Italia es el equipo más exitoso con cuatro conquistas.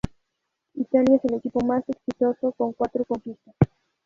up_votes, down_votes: 0, 2